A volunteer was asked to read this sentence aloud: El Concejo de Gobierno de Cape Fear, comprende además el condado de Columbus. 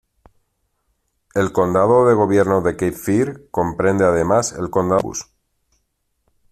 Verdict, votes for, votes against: rejected, 0, 2